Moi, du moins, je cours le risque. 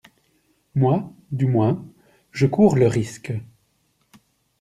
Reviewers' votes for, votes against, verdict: 2, 0, accepted